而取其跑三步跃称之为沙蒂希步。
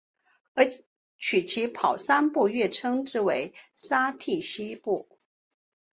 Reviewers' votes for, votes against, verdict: 2, 1, accepted